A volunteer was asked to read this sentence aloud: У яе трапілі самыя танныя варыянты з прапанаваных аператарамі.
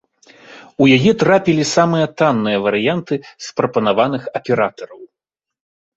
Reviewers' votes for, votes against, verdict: 1, 2, rejected